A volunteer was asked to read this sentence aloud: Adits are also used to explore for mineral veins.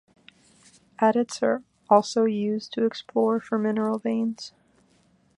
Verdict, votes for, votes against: accepted, 2, 0